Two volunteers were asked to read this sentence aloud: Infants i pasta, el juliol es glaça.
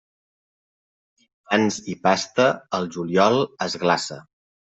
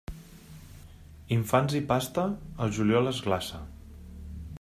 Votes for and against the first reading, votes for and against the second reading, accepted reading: 0, 2, 3, 0, second